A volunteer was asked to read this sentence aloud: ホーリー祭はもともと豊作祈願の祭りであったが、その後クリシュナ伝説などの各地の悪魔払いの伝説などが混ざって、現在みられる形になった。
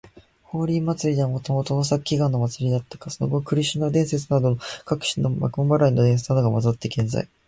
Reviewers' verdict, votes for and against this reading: rejected, 1, 2